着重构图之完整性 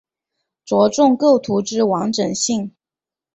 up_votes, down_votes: 3, 0